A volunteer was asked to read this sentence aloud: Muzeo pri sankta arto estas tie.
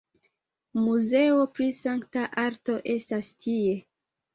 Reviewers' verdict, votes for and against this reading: accepted, 2, 0